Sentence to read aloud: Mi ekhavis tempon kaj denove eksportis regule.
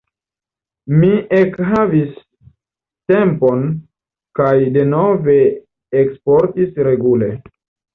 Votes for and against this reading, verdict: 1, 2, rejected